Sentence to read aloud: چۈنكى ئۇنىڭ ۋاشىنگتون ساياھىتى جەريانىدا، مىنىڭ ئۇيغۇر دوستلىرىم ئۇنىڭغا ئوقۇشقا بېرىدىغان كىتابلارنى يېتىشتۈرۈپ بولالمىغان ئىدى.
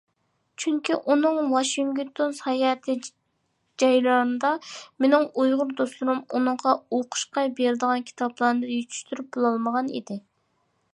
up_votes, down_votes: 2, 1